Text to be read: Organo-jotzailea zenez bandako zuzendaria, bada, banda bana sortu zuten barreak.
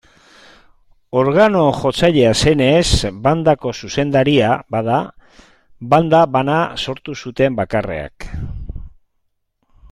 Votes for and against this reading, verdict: 0, 2, rejected